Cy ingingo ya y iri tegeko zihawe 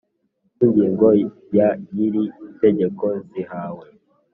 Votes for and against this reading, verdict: 2, 0, accepted